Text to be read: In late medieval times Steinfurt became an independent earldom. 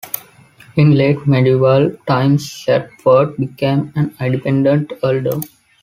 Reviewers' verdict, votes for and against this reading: rejected, 1, 2